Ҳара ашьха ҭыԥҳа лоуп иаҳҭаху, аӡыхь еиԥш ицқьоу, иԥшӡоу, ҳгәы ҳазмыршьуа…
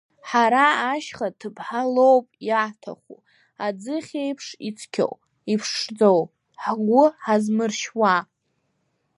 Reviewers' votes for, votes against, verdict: 1, 2, rejected